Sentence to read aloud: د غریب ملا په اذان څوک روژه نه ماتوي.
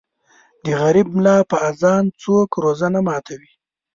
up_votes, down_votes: 0, 2